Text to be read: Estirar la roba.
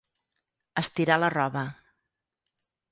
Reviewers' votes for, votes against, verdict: 4, 0, accepted